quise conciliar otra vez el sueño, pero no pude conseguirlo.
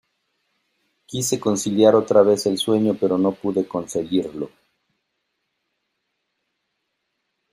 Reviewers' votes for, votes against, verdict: 0, 2, rejected